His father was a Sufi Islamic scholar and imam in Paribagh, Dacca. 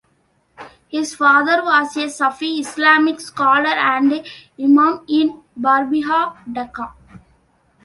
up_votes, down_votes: 2, 1